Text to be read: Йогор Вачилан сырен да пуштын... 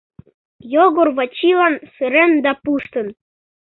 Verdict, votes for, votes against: accepted, 2, 0